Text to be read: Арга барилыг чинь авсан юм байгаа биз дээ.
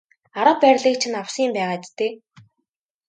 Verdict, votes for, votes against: accepted, 2, 0